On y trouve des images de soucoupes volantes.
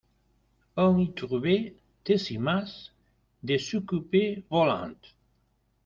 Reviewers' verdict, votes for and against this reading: rejected, 0, 2